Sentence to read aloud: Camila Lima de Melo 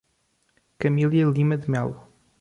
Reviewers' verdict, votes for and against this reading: rejected, 1, 2